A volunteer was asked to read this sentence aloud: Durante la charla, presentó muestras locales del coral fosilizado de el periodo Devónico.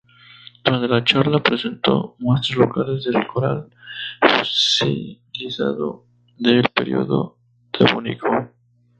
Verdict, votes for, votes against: rejected, 0, 4